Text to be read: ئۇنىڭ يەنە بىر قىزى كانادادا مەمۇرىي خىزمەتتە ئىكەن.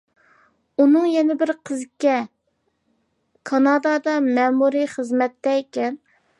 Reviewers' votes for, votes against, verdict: 0, 2, rejected